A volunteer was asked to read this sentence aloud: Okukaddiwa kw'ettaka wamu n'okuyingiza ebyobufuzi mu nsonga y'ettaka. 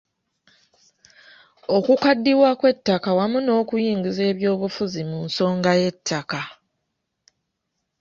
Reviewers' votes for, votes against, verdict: 2, 0, accepted